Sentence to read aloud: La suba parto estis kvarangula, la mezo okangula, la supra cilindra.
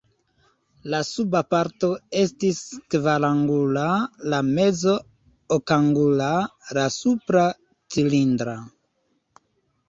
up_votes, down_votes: 1, 2